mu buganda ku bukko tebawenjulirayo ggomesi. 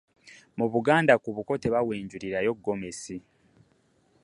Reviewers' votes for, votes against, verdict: 2, 0, accepted